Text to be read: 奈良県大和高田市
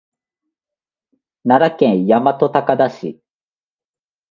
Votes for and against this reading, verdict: 2, 0, accepted